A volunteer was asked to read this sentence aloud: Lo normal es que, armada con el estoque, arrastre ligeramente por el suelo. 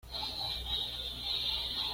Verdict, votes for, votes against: rejected, 1, 2